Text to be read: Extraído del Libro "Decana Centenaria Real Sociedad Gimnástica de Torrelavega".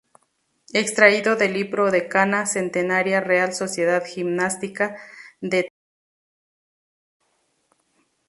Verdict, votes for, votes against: accepted, 2, 0